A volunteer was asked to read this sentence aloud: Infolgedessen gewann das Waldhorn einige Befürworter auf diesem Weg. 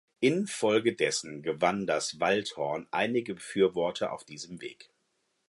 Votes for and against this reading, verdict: 4, 0, accepted